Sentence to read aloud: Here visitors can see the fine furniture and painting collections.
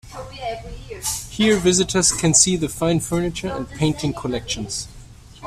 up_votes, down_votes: 1, 2